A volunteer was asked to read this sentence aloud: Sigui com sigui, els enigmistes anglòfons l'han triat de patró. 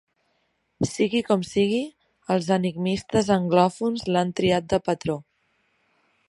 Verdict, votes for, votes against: accepted, 3, 0